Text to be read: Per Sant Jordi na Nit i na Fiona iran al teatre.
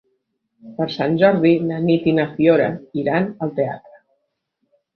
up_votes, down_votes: 1, 2